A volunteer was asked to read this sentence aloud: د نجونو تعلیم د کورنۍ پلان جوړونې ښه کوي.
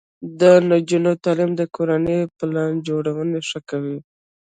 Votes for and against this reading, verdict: 0, 3, rejected